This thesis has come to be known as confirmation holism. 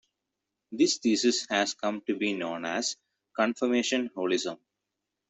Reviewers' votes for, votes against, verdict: 2, 0, accepted